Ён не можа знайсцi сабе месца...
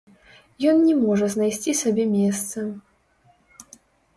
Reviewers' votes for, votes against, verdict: 3, 0, accepted